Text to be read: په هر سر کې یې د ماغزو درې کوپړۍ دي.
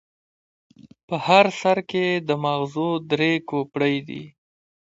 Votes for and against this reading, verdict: 2, 1, accepted